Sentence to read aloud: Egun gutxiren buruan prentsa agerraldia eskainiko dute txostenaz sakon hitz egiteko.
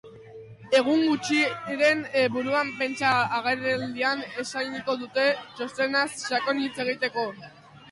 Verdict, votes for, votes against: rejected, 0, 2